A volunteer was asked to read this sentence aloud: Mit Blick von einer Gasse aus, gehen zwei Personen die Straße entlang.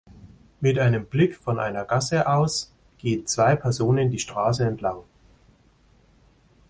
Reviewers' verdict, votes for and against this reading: rejected, 0, 2